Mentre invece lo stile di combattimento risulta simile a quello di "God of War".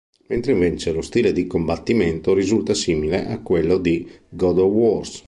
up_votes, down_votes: 0, 2